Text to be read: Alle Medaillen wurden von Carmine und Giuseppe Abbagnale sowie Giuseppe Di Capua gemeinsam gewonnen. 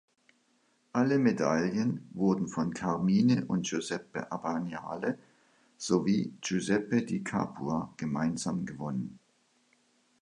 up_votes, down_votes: 2, 0